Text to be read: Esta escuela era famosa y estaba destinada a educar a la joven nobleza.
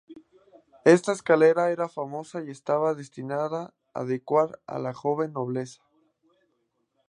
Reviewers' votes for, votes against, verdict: 0, 2, rejected